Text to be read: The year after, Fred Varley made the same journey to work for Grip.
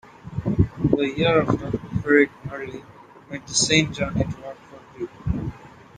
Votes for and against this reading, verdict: 2, 1, accepted